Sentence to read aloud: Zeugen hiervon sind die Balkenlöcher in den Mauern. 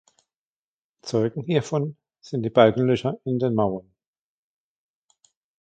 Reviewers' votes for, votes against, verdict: 2, 1, accepted